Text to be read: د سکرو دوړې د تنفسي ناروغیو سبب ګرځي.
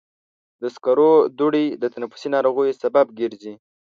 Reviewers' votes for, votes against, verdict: 2, 0, accepted